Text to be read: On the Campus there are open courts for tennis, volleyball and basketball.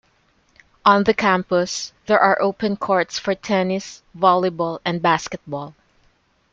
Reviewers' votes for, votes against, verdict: 2, 0, accepted